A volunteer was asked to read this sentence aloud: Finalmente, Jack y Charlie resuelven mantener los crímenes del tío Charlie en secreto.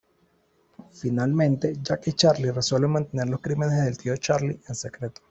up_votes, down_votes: 2, 0